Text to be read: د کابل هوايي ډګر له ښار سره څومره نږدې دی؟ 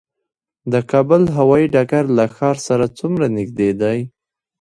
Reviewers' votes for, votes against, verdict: 1, 2, rejected